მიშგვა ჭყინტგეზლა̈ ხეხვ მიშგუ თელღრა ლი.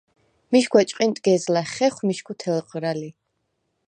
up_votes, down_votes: 4, 0